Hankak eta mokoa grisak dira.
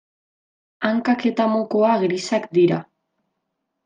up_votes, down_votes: 2, 0